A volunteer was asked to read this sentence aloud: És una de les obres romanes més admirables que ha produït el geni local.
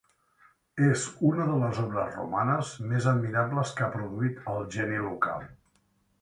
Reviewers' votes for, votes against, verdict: 3, 0, accepted